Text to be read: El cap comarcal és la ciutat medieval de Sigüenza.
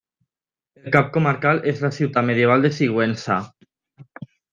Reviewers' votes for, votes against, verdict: 0, 2, rejected